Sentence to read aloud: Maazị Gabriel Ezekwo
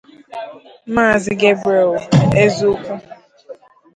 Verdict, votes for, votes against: rejected, 0, 2